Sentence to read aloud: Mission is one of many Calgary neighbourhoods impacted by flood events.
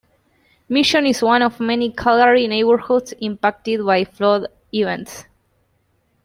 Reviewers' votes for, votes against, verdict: 2, 1, accepted